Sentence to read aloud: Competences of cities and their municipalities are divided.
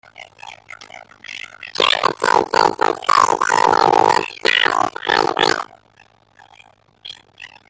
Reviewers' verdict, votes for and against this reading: rejected, 0, 2